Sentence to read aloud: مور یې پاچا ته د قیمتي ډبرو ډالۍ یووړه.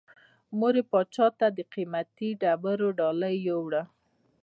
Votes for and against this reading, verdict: 2, 0, accepted